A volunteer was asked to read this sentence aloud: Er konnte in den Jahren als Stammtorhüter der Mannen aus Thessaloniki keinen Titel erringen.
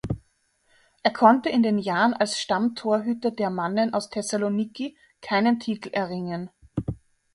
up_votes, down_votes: 2, 0